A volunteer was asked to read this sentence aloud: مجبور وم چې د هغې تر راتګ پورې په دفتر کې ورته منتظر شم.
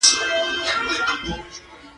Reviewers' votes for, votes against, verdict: 0, 2, rejected